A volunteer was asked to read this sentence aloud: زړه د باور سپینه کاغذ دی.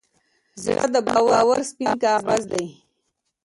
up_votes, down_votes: 1, 2